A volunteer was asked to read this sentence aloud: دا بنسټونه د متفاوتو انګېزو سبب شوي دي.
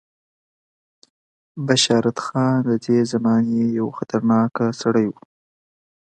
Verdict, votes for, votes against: rejected, 1, 2